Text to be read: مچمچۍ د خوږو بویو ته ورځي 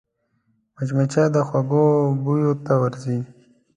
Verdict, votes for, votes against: accepted, 3, 0